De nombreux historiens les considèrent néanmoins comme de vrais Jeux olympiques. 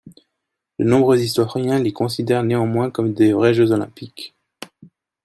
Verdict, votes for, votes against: rejected, 0, 2